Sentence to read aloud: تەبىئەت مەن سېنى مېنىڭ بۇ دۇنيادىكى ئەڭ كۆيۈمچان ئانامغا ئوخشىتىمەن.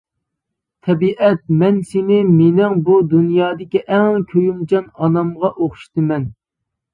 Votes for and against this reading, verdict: 2, 0, accepted